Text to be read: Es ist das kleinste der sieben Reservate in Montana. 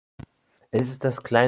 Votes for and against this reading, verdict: 0, 2, rejected